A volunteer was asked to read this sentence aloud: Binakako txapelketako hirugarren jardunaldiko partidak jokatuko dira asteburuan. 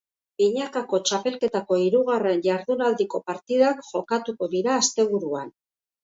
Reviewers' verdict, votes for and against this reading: accepted, 3, 0